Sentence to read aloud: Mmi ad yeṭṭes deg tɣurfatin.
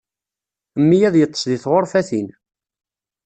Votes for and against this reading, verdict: 2, 1, accepted